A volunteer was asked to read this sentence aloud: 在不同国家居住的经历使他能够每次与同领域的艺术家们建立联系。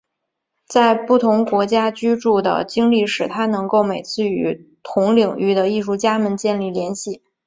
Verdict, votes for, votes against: accepted, 6, 1